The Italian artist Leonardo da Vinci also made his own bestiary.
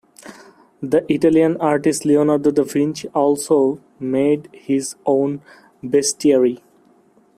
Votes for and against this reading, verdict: 0, 2, rejected